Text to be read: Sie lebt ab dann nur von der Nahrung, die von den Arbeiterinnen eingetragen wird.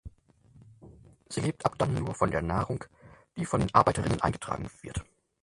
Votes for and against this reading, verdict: 2, 4, rejected